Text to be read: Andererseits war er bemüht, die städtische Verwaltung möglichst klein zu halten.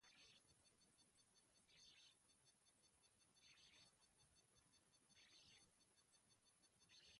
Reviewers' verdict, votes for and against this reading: rejected, 0, 2